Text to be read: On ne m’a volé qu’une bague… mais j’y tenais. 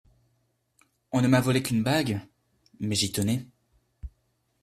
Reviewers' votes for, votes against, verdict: 2, 0, accepted